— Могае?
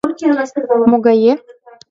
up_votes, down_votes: 1, 5